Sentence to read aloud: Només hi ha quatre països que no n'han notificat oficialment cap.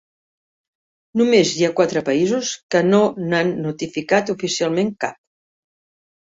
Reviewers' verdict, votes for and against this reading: accepted, 3, 0